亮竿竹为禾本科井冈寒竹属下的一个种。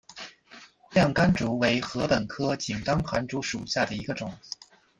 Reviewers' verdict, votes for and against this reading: accepted, 2, 0